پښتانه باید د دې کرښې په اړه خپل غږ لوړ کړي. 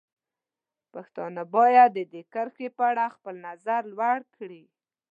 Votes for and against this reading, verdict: 0, 2, rejected